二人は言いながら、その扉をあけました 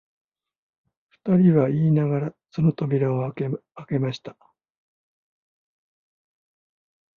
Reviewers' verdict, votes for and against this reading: accepted, 2, 1